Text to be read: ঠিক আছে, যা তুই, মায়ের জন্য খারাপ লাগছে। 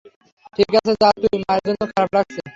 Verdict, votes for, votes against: rejected, 0, 3